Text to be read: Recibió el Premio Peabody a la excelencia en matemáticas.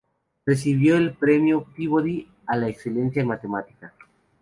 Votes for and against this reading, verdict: 2, 0, accepted